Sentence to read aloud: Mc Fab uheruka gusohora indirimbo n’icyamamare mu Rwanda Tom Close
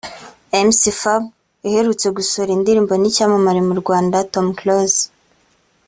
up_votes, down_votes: 2, 3